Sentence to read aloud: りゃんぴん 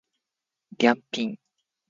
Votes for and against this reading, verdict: 1, 2, rejected